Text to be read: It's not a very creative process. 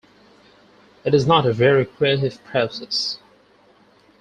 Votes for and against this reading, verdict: 4, 2, accepted